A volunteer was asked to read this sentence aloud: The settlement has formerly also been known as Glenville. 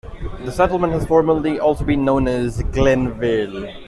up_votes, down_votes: 3, 2